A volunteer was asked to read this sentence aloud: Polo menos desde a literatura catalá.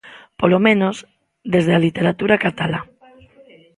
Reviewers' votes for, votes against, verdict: 2, 0, accepted